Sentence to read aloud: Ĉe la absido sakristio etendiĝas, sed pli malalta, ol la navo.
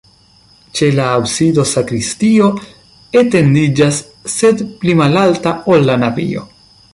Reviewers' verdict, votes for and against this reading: rejected, 0, 2